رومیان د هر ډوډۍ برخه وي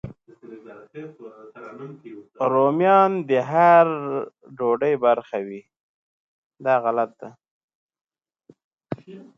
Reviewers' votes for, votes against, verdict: 1, 2, rejected